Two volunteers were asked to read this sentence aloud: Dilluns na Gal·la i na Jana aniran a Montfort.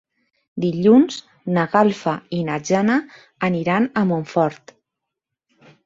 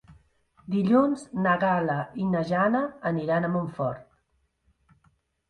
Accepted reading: second